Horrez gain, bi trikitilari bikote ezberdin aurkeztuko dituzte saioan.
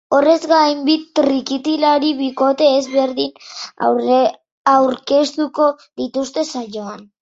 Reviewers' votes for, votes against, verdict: 1, 3, rejected